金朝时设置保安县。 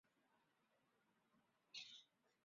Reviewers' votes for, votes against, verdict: 1, 3, rejected